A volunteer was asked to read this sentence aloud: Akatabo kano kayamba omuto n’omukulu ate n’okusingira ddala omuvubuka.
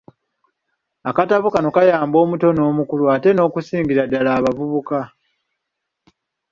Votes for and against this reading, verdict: 2, 0, accepted